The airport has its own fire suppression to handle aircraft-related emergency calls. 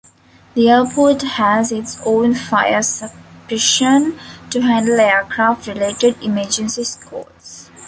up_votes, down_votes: 0, 2